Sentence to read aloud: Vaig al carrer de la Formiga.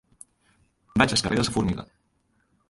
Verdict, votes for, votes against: rejected, 0, 2